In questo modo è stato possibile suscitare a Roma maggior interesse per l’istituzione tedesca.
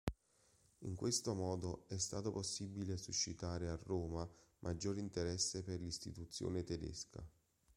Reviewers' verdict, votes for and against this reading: accepted, 2, 0